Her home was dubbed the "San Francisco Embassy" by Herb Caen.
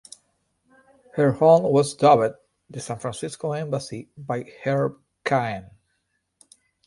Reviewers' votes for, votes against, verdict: 2, 0, accepted